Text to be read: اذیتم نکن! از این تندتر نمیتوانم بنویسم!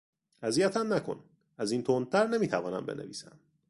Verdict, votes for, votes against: accepted, 2, 1